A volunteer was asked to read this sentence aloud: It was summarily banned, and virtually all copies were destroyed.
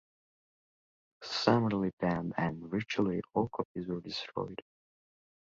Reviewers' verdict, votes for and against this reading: rejected, 0, 2